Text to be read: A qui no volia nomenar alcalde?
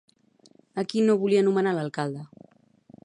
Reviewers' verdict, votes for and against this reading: accepted, 2, 0